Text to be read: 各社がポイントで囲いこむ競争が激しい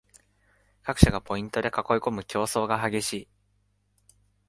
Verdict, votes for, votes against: accepted, 2, 1